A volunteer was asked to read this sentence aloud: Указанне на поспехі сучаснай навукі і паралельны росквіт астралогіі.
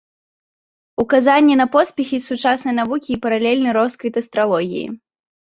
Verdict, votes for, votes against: accepted, 2, 0